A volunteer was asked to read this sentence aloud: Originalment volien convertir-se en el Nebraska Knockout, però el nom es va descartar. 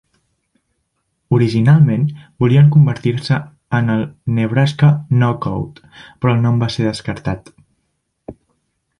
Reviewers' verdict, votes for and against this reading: rejected, 0, 2